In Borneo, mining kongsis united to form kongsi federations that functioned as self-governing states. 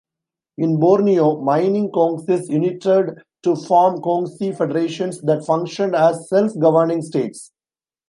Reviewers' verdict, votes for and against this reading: rejected, 0, 2